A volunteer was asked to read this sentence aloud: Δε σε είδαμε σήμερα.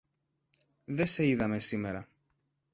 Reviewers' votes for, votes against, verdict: 2, 0, accepted